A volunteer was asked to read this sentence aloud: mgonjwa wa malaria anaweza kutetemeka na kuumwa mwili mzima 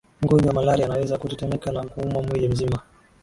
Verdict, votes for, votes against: accepted, 2, 0